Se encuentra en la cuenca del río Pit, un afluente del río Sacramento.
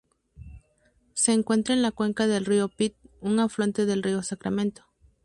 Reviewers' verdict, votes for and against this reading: rejected, 0, 2